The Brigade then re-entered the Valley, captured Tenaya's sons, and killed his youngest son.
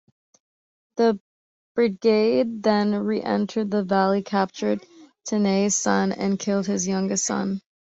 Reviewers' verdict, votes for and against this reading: accepted, 2, 0